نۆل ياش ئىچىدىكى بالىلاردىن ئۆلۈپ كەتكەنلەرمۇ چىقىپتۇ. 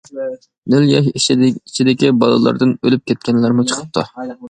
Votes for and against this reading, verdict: 1, 2, rejected